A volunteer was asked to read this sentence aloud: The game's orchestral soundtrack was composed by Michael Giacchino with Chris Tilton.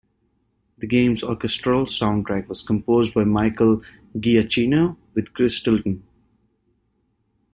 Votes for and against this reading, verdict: 2, 0, accepted